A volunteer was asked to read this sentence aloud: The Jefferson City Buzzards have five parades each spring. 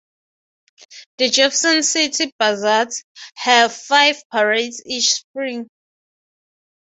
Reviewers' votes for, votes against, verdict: 3, 3, rejected